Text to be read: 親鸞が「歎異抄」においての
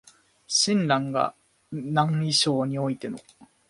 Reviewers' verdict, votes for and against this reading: rejected, 0, 2